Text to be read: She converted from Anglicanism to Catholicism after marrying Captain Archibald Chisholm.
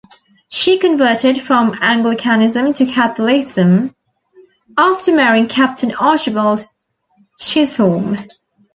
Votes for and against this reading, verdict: 0, 2, rejected